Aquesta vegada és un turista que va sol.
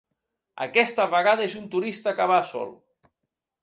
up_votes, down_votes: 2, 0